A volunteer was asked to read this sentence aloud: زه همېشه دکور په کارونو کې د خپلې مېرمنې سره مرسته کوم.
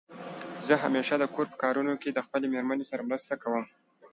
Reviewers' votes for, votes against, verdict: 2, 0, accepted